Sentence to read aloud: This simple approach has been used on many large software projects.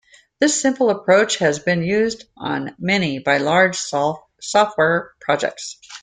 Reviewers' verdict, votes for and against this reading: rejected, 0, 2